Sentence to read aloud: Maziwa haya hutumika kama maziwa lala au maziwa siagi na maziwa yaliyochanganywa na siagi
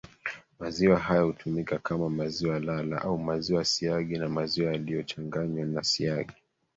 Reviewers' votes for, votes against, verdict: 1, 2, rejected